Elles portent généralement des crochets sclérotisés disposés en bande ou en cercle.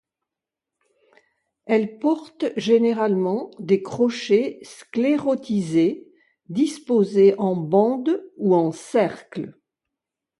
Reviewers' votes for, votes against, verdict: 2, 0, accepted